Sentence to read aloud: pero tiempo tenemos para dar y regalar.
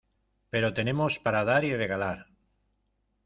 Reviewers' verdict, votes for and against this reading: rejected, 0, 2